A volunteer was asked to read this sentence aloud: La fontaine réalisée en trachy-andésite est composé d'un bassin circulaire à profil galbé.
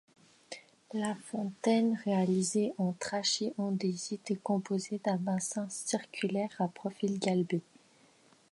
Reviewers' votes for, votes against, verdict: 2, 0, accepted